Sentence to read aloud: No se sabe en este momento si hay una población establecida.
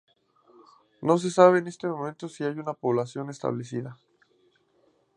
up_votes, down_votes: 2, 0